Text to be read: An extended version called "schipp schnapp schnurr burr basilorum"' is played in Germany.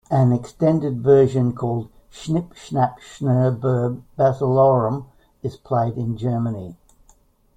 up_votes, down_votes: 1, 2